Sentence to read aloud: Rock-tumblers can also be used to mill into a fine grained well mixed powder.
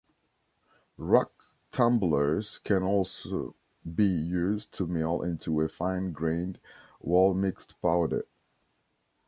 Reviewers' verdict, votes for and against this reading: rejected, 1, 2